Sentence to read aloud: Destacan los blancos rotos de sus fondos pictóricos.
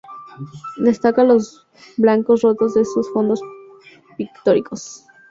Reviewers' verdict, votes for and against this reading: rejected, 0, 2